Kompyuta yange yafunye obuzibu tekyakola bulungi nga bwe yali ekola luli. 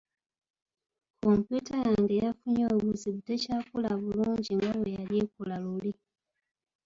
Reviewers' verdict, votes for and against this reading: accepted, 2, 0